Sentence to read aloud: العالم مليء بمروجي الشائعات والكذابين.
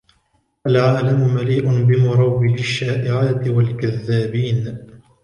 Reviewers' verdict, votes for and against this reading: rejected, 1, 2